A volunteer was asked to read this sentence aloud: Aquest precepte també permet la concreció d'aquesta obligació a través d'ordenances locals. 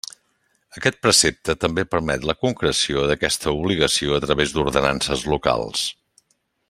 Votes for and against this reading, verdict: 3, 0, accepted